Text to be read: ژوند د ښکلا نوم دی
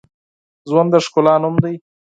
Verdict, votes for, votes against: accepted, 4, 2